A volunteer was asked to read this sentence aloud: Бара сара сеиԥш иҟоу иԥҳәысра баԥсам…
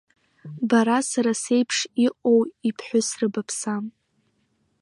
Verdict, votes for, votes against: accepted, 3, 0